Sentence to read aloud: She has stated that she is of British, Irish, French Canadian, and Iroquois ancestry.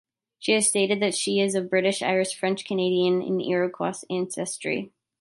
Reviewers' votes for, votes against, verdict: 2, 0, accepted